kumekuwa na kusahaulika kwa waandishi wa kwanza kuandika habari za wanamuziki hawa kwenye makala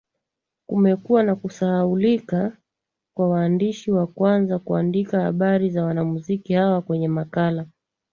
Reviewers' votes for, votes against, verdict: 2, 0, accepted